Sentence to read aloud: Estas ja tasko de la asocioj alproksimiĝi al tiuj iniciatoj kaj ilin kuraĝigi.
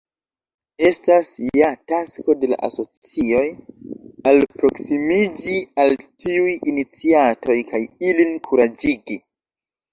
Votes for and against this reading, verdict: 0, 2, rejected